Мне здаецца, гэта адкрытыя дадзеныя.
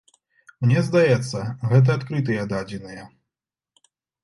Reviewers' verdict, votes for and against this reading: accepted, 2, 0